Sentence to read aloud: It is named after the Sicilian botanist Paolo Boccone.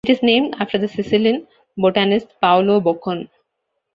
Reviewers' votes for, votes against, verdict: 1, 2, rejected